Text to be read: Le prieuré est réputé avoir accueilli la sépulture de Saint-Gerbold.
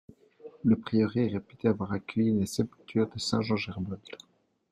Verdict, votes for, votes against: accepted, 2, 1